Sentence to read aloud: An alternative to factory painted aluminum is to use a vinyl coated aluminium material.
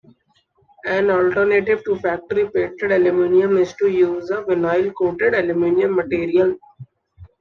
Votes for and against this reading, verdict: 2, 0, accepted